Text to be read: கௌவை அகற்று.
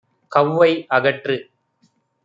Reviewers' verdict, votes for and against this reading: accepted, 2, 0